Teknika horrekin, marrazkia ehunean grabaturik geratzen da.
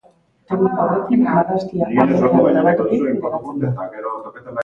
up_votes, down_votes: 0, 2